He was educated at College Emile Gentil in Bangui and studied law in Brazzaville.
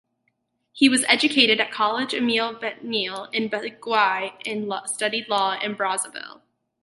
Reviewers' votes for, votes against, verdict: 0, 4, rejected